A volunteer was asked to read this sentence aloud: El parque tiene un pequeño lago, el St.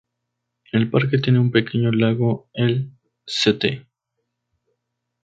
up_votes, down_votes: 2, 2